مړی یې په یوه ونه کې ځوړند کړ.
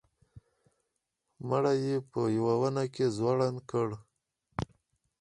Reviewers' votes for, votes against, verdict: 4, 0, accepted